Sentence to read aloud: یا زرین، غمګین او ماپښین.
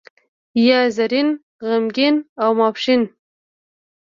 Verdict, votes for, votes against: accepted, 2, 0